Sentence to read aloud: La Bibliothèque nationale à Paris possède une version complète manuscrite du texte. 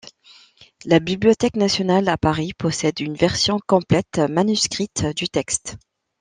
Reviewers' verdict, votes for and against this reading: accepted, 2, 0